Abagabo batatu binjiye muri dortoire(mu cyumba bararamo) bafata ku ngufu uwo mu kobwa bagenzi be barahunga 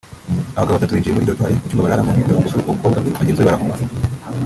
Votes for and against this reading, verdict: 0, 3, rejected